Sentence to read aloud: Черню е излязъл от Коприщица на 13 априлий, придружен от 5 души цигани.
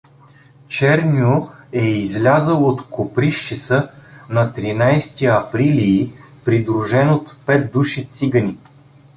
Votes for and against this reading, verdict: 0, 2, rejected